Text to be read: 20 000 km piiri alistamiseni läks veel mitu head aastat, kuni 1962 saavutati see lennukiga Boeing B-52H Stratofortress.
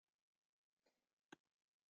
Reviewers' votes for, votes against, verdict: 0, 2, rejected